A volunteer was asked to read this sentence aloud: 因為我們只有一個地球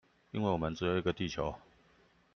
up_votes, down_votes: 2, 0